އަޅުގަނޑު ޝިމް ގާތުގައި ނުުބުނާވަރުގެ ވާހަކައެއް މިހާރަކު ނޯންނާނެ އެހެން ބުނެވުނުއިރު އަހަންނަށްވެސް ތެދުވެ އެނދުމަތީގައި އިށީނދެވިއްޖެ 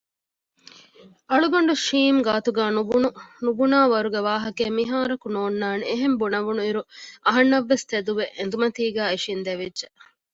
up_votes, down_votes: 0, 2